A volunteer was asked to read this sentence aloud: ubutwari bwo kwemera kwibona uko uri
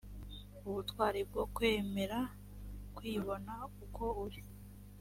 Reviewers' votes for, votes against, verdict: 3, 0, accepted